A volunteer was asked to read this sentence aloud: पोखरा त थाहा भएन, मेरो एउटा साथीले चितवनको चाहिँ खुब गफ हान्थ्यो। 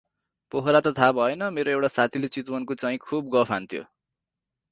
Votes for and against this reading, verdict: 2, 2, rejected